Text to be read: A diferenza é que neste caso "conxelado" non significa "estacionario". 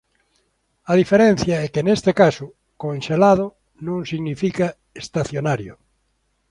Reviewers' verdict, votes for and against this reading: rejected, 0, 2